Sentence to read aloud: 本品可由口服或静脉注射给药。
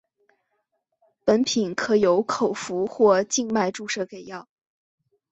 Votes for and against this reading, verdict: 9, 0, accepted